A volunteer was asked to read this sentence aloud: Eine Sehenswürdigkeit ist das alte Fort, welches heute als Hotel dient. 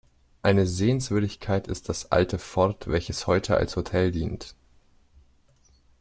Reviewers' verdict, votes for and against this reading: rejected, 1, 2